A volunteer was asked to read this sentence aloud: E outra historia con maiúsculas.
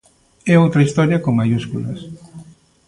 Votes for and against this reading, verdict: 2, 0, accepted